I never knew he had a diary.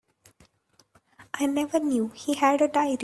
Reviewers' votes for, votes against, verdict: 0, 2, rejected